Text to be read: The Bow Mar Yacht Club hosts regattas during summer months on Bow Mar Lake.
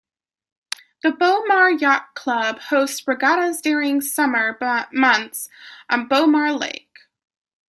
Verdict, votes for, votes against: rejected, 1, 2